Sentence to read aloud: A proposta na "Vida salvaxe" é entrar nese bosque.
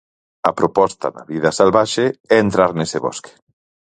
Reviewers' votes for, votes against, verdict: 2, 4, rejected